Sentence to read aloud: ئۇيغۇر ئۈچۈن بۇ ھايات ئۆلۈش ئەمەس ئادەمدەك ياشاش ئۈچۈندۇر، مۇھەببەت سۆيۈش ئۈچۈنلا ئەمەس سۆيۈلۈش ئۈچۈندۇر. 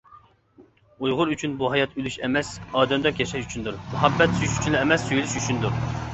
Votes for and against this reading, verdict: 2, 0, accepted